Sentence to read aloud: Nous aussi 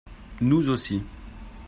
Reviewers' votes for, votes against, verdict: 4, 0, accepted